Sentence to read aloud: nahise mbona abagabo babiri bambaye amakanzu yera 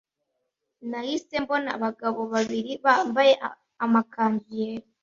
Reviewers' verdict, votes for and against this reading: accepted, 2, 0